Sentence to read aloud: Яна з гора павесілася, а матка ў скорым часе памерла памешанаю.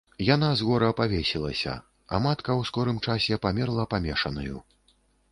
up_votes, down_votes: 2, 0